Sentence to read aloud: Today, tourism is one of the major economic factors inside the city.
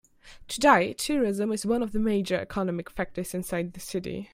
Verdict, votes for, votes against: accepted, 2, 0